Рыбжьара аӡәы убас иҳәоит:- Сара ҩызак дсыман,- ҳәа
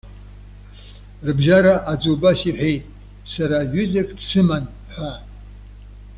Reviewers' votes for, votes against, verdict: 2, 1, accepted